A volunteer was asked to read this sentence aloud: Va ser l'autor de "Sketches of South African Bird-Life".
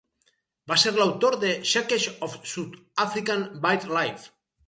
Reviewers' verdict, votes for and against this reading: rejected, 0, 4